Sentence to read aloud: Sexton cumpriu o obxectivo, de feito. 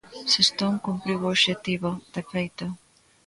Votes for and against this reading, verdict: 0, 2, rejected